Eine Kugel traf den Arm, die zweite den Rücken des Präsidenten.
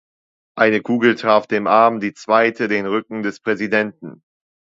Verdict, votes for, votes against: rejected, 0, 2